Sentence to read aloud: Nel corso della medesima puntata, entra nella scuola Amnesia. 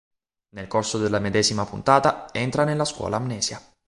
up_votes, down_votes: 3, 0